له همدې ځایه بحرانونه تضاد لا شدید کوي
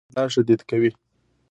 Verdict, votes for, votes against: rejected, 0, 2